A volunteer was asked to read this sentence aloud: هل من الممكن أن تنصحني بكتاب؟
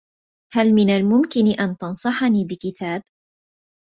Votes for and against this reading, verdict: 2, 0, accepted